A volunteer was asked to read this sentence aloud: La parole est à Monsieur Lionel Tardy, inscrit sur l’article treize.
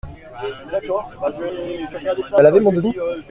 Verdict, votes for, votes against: rejected, 0, 2